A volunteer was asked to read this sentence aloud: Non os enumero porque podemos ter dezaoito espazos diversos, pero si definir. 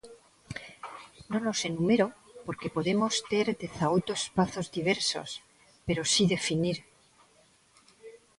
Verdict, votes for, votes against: accepted, 2, 0